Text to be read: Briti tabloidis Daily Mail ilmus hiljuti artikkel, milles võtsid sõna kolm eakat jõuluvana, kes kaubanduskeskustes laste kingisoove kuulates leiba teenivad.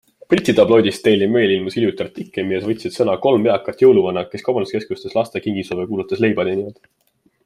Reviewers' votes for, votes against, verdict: 2, 0, accepted